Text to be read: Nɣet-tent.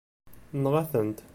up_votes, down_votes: 1, 2